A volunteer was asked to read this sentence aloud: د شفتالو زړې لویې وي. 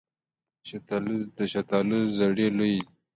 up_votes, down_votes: 2, 1